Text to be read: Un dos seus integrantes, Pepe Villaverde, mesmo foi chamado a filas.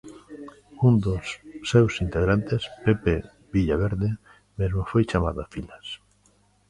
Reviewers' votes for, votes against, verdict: 0, 2, rejected